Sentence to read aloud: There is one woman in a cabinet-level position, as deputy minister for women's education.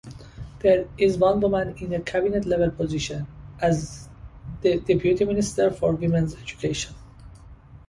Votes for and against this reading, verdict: 0, 2, rejected